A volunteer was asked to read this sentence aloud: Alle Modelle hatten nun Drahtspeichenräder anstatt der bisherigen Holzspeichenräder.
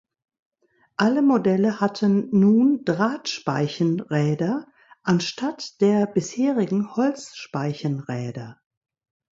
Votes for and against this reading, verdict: 2, 0, accepted